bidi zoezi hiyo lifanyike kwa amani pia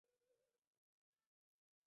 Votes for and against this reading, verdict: 0, 2, rejected